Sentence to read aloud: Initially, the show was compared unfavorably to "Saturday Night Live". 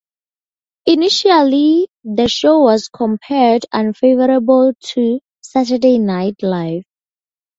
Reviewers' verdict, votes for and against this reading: rejected, 2, 2